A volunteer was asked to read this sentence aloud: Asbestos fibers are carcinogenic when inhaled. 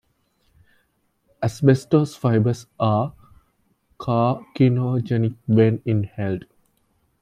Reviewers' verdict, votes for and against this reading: rejected, 0, 2